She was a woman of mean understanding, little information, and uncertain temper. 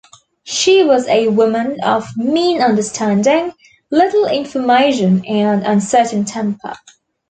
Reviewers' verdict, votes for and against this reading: accepted, 2, 0